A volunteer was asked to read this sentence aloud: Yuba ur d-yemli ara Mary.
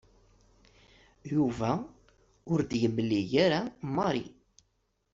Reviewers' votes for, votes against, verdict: 2, 1, accepted